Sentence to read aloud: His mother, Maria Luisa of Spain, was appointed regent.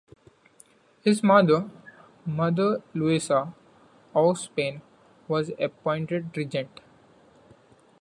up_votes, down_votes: 1, 2